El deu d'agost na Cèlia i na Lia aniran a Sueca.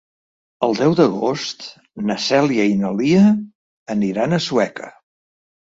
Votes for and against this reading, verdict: 3, 0, accepted